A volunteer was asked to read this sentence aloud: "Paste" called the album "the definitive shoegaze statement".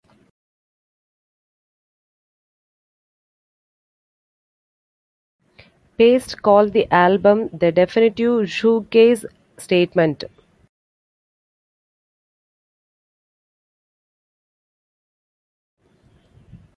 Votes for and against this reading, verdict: 1, 2, rejected